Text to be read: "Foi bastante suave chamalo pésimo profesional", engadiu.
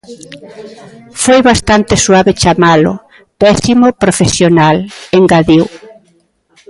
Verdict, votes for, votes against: accepted, 2, 0